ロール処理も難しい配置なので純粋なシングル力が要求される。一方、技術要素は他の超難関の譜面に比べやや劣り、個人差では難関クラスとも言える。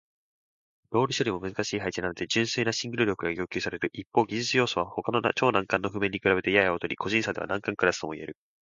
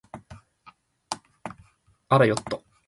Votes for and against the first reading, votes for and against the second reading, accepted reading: 2, 0, 0, 2, first